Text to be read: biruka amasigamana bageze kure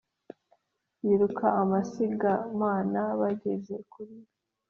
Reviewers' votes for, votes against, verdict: 4, 0, accepted